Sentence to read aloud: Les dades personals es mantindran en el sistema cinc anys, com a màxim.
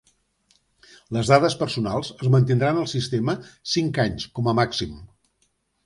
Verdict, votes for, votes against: accepted, 2, 0